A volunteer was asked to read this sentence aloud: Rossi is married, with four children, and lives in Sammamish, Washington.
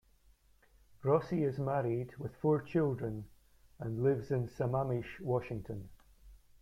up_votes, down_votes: 0, 2